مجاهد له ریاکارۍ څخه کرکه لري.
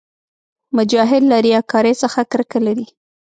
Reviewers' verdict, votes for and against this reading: accepted, 2, 0